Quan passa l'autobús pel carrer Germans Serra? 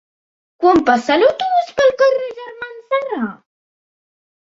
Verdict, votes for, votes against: rejected, 1, 2